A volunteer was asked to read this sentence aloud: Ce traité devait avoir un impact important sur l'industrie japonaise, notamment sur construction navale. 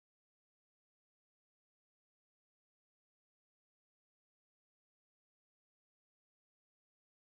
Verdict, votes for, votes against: rejected, 2, 4